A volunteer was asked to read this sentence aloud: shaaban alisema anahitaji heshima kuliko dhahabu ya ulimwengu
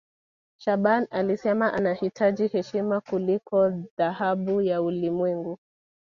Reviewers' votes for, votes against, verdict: 2, 0, accepted